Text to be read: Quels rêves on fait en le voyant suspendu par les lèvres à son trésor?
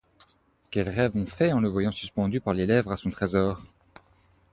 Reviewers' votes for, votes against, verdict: 2, 0, accepted